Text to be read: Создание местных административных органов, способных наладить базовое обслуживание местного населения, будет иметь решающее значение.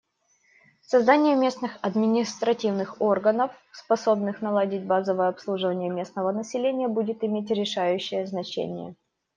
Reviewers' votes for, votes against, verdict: 2, 0, accepted